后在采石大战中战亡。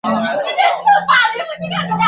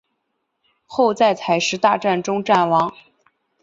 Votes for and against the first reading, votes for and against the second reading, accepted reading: 0, 2, 9, 0, second